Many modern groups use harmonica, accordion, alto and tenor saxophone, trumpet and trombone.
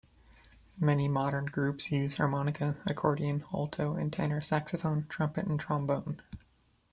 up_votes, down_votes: 2, 0